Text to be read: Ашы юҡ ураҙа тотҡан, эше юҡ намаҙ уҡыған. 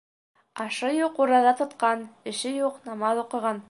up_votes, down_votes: 1, 2